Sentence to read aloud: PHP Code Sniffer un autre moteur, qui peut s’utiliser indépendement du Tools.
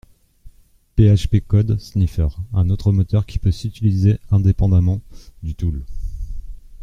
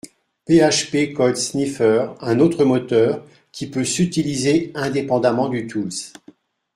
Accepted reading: second